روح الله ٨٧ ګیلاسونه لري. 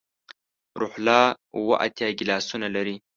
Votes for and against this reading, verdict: 0, 2, rejected